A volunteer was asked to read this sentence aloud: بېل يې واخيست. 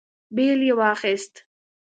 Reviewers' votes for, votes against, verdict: 2, 0, accepted